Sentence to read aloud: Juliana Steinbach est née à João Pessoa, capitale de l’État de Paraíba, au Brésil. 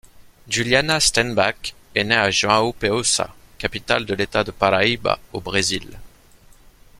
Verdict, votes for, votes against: rejected, 1, 2